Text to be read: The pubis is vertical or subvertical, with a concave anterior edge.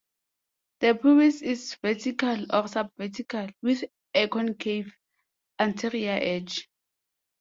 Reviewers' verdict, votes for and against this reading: rejected, 0, 2